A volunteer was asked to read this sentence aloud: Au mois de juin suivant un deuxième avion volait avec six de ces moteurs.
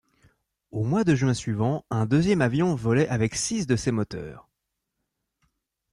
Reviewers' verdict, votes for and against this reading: accepted, 2, 0